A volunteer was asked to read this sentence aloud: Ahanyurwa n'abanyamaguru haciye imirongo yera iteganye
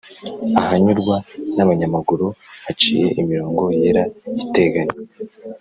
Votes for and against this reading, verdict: 2, 0, accepted